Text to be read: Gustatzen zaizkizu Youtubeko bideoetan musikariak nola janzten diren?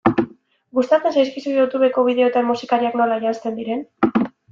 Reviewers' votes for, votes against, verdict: 2, 0, accepted